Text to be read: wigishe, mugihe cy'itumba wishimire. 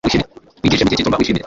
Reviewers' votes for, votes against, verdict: 1, 2, rejected